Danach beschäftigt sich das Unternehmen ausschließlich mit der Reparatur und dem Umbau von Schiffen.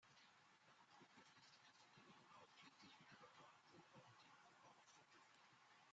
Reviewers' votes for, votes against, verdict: 0, 2, rejected